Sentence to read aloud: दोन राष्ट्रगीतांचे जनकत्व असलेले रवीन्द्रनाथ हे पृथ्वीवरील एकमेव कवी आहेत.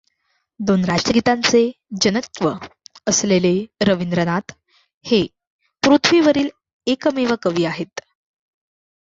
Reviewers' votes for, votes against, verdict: 1, 2, rejected